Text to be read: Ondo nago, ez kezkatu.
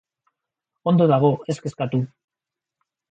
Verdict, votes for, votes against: rejected, 0, 2